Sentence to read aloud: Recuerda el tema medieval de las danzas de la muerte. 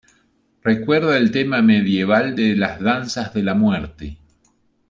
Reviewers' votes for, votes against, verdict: 2, 0, accepted